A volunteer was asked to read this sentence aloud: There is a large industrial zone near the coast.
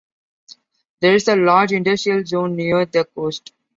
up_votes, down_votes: 2, 0